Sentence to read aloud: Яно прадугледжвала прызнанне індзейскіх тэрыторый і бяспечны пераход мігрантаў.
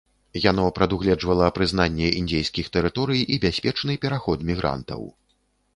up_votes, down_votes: 2, 0